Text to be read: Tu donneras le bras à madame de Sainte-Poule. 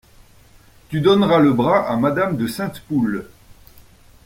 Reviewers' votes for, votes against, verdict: 2, 0, accepted